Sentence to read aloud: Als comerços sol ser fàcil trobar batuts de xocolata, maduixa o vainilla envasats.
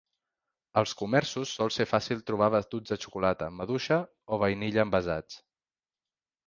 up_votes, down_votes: 3, 0